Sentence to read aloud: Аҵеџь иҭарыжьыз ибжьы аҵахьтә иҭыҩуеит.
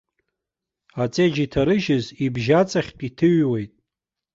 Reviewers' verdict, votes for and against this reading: accepted, 2, 0